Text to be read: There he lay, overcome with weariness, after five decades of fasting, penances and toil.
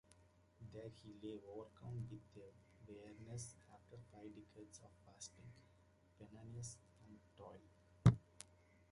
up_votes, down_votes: 0, 2